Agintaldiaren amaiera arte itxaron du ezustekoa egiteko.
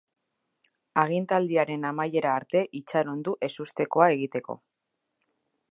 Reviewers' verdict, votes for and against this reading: accepted, 2, 0